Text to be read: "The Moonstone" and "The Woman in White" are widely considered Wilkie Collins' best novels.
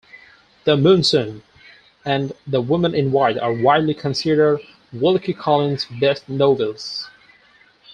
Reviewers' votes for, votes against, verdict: 4, 0, accepted